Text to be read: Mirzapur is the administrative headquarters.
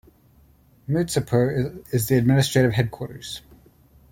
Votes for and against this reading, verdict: 2, 0, accepted